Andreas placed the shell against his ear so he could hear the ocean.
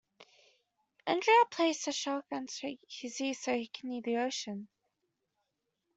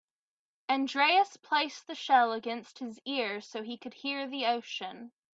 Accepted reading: second